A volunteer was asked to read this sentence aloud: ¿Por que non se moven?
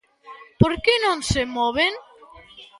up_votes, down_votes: 2, 0